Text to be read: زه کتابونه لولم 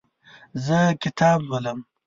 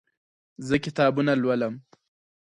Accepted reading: second